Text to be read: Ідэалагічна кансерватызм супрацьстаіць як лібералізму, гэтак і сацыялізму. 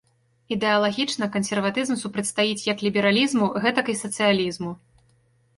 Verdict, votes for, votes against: accepted, 2, 0